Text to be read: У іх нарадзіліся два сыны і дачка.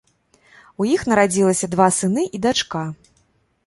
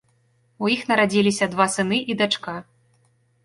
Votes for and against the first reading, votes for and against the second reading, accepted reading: 0, 2, 2, 0, second